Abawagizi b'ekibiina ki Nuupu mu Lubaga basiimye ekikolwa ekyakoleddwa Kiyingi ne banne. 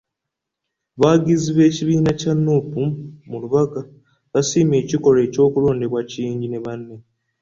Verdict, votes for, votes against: rejected, 1, 2